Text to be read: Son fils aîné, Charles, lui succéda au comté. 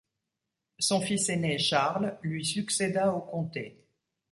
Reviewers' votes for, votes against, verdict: 2, 0, accepted